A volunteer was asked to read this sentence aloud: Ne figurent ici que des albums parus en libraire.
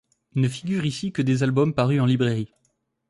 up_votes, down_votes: 1, 2